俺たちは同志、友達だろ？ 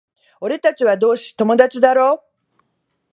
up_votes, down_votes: 2, 0